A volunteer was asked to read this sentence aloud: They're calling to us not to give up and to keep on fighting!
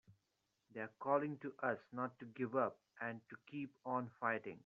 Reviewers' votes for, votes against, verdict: 3, 0, accepted